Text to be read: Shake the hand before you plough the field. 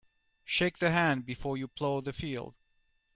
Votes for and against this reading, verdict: 2, 1, accepted